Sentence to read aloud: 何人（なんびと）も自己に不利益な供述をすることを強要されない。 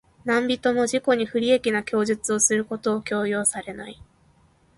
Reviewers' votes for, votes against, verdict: 2, 0, accepted